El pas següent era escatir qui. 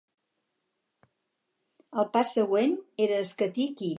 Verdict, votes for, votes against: accepted, 2, 0